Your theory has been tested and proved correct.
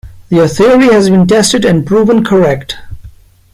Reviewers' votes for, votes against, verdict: 0, 2, rejected